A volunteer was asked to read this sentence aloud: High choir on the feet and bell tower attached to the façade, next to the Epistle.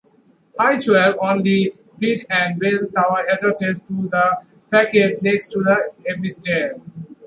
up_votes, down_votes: 1, 2